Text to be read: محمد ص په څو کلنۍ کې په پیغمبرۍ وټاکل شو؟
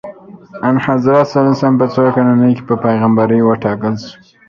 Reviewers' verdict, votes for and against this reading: rejected, 0, 2